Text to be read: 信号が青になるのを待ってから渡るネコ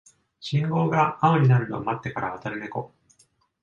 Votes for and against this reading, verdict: 2, 1, accepted